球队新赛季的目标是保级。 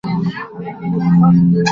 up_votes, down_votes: 0, 2